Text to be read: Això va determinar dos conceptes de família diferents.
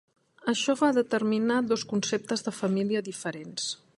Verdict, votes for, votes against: rejected, 1, 2